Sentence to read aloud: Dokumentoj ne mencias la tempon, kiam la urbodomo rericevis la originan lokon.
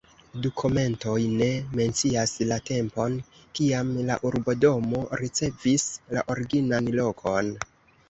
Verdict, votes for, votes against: rejected, 0, 2